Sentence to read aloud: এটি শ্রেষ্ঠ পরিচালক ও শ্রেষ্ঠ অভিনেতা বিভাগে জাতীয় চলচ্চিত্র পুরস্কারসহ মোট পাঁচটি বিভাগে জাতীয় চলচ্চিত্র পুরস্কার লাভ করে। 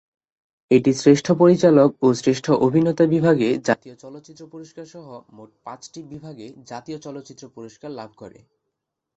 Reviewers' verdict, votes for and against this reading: accepted, 2, 0